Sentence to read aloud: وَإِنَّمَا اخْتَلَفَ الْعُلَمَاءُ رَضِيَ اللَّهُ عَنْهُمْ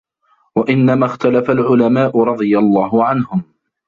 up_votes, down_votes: 2, 1